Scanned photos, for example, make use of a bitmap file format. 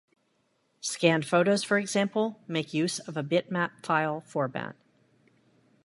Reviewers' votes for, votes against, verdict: 2, 0, accepted